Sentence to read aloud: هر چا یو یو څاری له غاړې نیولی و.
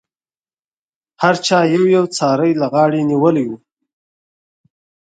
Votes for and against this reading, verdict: 6, 0, accepted